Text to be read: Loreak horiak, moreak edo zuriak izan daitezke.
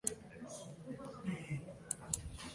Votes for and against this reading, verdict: 0, 2, rejected